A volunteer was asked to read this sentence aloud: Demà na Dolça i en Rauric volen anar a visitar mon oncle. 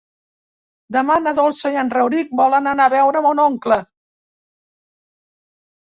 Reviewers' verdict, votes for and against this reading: rejected, 0, 2